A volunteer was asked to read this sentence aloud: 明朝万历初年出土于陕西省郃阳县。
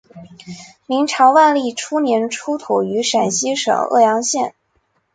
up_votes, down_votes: 3, 0